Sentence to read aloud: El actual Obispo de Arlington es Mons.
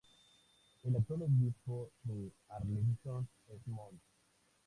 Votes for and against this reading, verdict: 2, 0, accepted